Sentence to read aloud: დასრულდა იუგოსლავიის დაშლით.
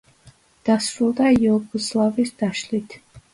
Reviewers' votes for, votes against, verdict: 2, 0, accepted